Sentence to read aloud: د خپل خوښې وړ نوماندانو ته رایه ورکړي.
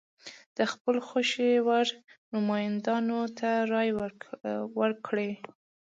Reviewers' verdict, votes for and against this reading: accepted, 2, 0